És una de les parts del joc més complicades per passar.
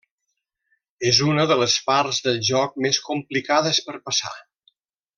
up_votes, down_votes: 3, 0